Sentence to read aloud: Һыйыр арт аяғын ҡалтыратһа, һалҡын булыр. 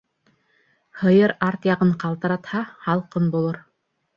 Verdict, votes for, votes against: rejected, 0, 2